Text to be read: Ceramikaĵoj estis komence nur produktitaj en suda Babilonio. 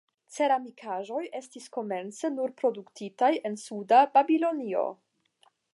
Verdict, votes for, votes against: accepted, 10, 0